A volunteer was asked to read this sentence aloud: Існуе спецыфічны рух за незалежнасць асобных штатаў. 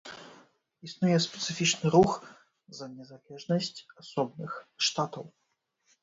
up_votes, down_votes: 0, 2